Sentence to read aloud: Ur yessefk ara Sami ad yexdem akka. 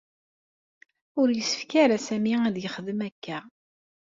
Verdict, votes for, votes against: accepted, 2, 0